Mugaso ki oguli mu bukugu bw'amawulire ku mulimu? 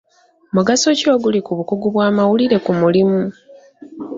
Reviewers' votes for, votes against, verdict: 3, 1, accepted